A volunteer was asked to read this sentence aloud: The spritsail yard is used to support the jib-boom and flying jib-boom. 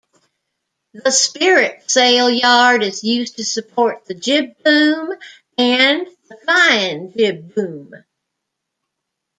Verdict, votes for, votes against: rejected, 0, 2